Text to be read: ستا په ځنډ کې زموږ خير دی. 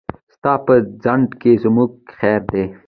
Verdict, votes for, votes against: accepted, 2, 0